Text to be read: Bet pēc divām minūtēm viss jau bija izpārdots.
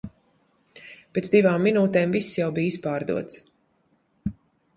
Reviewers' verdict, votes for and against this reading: rejected, 1, 2